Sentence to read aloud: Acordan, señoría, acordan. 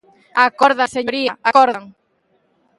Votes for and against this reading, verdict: 0, 2, rejected